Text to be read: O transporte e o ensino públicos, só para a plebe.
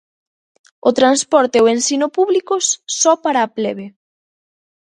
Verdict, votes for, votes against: accepted, 2, 0